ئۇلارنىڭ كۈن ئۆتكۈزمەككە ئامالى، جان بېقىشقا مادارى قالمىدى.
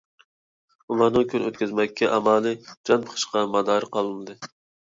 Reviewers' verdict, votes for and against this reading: rejected, 1, 2